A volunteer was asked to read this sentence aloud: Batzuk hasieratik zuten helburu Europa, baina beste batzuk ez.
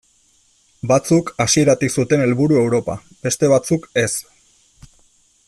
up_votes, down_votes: 0, 2